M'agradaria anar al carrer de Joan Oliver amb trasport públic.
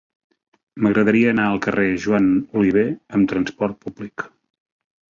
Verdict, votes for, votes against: rejected, 1, 2